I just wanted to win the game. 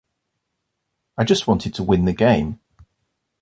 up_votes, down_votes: 0, 2